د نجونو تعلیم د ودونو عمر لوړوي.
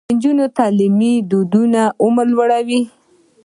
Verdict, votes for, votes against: rejected, 1, 2